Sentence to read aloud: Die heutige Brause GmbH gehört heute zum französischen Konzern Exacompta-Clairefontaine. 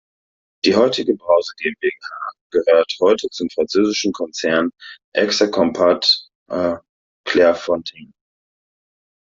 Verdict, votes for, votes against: rejected, 0, 2